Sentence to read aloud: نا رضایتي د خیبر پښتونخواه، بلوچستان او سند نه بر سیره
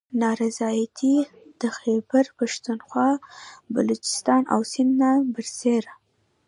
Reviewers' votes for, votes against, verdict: 1, 2, rejected